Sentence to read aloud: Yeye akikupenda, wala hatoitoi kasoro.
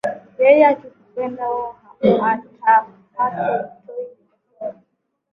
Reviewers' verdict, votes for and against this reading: rejected, 1, 2